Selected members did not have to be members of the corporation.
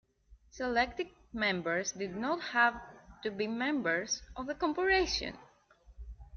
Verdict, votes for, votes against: accepted, 2, 0